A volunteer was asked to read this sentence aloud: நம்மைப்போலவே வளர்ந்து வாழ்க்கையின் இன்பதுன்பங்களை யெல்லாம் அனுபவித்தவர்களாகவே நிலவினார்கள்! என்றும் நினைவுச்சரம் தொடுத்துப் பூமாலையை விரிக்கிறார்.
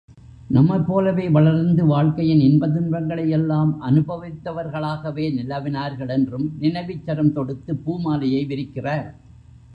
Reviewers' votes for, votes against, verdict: 0, 2, rejected